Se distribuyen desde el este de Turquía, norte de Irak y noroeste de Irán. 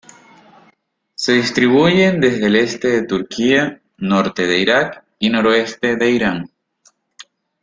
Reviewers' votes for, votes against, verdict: 2, 0, accepted